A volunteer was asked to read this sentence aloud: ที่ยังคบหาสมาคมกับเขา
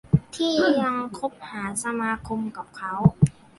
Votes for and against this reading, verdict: 1, 2, rejected